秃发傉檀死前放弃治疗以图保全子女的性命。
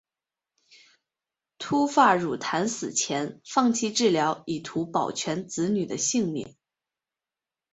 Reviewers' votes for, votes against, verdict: 2, 1, accepted